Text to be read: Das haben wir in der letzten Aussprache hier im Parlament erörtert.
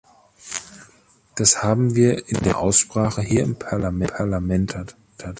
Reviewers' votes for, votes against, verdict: 0, 2, rejected